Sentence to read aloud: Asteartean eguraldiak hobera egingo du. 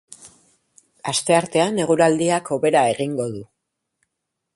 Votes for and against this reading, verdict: 2, 0, accepted